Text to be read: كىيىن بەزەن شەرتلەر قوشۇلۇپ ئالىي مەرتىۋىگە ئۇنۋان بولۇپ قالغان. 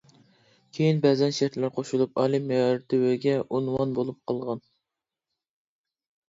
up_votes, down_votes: 2, 1